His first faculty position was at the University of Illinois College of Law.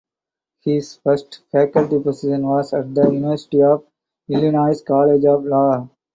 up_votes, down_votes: 2, 2